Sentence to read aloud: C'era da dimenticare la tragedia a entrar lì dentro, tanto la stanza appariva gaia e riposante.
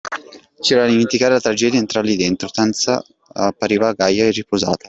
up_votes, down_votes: 0, 2